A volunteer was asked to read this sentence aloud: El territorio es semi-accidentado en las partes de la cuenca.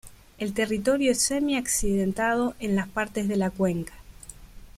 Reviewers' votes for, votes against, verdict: 2, 0, accepted